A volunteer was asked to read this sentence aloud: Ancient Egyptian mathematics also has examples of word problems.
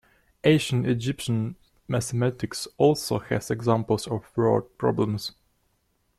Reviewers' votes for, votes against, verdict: 2, 1, accepted